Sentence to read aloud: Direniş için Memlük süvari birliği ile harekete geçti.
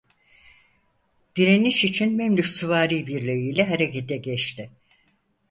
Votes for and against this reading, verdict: 4, 0, accepted